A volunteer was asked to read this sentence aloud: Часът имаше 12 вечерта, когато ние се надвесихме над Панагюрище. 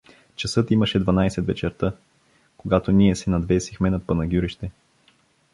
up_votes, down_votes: 0, 2